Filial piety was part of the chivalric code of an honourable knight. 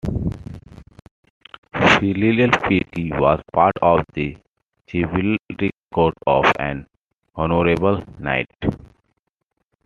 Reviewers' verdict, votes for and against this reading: rejected, 1, 2